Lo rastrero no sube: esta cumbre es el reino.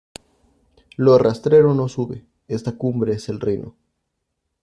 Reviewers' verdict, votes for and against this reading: accepted, 3, 0